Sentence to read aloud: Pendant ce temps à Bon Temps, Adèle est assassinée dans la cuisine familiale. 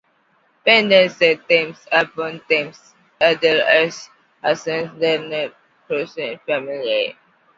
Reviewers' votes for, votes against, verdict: 1, 2, rejected